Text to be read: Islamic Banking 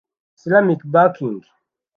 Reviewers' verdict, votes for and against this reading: rejected, 1, 2